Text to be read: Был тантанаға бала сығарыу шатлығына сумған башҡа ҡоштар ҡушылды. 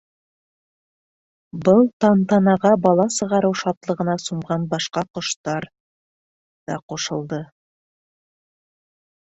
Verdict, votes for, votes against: rejected, 1, 2